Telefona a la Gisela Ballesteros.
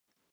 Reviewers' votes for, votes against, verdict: 0, 2, rejected